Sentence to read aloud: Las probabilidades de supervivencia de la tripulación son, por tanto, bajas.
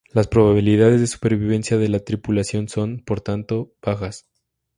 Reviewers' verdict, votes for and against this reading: accepted, 2, 0